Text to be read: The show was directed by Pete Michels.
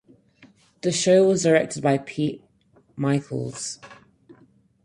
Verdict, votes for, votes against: rejected, 2, 4